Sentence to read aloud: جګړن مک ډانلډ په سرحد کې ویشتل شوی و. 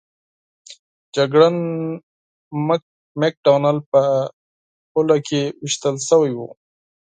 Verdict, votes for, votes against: rejected, 2, 4